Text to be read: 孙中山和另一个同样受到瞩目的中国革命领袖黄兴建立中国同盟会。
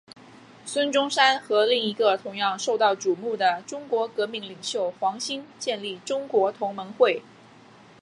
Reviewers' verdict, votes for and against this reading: accepted, 2, 0